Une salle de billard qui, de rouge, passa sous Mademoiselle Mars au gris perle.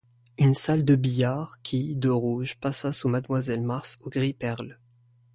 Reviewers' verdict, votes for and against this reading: accepted, 2, 0